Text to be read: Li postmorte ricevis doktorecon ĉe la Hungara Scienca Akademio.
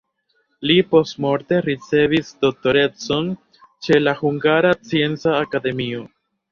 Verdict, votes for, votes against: rejected, 0, 2